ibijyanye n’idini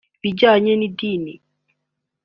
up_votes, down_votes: 2, 0